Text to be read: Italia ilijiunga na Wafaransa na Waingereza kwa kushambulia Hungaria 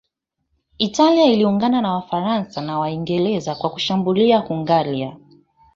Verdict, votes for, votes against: accepted, 3, 0